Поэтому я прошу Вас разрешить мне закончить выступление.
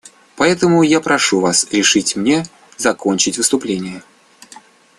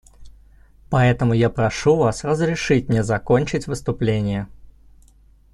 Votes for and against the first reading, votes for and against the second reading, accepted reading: 0, 2, 2, 0, second